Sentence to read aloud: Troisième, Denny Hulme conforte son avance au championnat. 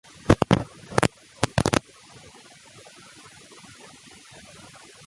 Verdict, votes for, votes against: rejected, 0, 2